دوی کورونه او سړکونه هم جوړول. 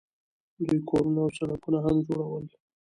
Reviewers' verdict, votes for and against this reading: rejected, 0, 2